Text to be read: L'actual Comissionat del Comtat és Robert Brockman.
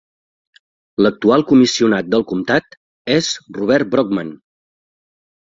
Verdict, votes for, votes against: accepted, 4, 0